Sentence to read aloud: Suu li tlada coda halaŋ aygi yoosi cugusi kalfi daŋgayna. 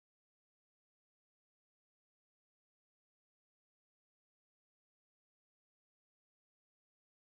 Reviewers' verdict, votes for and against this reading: rejected, 0, 2